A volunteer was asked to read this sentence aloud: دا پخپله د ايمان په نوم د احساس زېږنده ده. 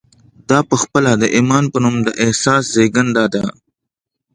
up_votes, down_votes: 2, 0